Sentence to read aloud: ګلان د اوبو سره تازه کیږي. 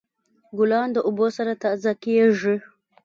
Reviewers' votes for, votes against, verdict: 1, 2, rejected